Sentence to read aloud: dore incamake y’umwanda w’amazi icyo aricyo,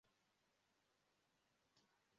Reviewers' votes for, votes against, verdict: 0, 2, rejected